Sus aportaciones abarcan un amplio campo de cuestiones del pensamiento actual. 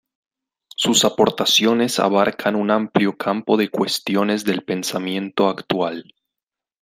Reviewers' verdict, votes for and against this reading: accepted, 2, 0